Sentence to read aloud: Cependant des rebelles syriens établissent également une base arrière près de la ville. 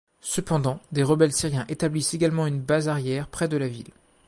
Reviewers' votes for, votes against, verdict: 2, 0, accepted